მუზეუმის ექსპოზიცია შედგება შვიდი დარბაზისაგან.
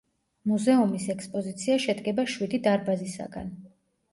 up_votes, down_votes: 2, 0